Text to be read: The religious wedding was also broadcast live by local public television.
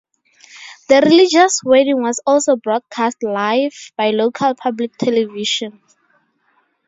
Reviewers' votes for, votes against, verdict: 2, 2, rejected